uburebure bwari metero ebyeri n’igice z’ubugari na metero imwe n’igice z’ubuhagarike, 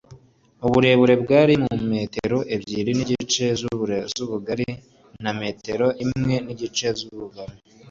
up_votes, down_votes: 1, 2